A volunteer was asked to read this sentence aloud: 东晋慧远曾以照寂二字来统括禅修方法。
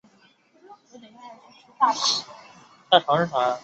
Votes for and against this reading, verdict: 0, 3, rejected